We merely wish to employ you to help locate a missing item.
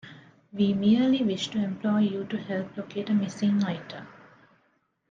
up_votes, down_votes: 2, 0